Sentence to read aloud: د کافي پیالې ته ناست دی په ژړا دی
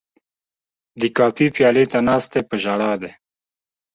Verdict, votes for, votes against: accepted, 2, 1